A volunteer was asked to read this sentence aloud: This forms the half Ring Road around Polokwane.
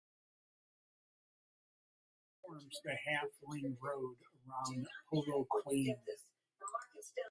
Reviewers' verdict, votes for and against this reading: rejected, 0, 2